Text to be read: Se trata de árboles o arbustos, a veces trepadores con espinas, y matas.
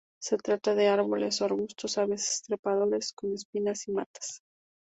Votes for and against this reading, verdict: 2, 0, accepted